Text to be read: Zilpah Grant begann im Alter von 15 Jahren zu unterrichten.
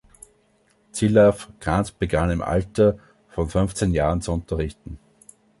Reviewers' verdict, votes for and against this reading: rejected, 0, 2